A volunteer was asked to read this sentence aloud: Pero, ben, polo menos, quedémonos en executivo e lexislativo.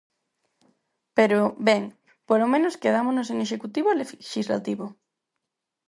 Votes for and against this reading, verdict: 2, 4, rejected